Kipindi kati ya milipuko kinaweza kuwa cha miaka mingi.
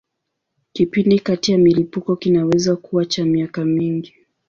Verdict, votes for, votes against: accepted, 3, 0